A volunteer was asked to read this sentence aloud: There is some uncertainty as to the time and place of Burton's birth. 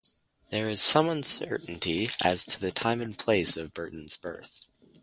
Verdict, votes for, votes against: rejected, 2, 2